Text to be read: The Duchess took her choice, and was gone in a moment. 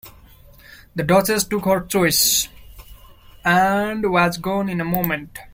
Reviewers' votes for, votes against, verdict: 2, 1, accepted